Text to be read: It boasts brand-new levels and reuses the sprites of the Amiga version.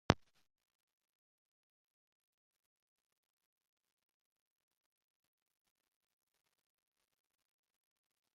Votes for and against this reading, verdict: 0, 2, rejected